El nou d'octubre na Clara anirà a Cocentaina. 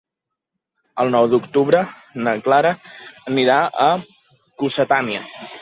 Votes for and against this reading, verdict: 0, 2, rejected